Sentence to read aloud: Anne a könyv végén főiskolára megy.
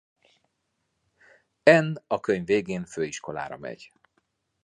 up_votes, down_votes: 2, 0